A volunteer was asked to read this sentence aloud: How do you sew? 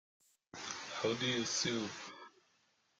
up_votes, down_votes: 1, 2